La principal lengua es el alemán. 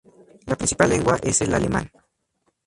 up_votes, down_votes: 2, 0